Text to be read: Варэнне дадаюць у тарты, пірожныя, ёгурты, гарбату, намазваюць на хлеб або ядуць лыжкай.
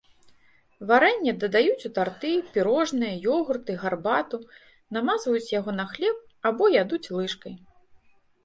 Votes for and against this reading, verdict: 0, 2, rejected